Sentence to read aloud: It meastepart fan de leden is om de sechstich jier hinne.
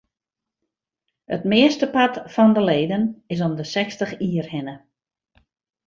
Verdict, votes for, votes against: accepted, 2, 0